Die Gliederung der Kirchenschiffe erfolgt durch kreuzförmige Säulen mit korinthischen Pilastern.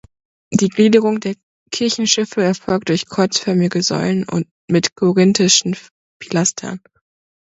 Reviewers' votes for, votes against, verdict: 0, 2, rejected